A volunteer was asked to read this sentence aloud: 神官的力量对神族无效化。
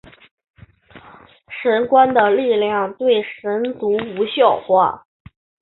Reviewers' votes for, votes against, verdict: 2, 0, accepted